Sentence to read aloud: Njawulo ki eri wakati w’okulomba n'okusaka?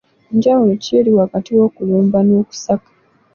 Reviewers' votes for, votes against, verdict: 2, 0, accepted